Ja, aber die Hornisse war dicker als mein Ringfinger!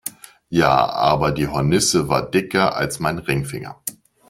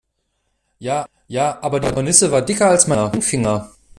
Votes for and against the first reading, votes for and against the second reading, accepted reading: 2, 0, 0, 2, first